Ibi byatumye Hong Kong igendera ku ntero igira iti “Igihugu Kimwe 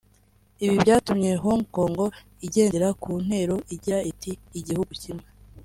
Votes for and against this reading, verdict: 2, 0, accepted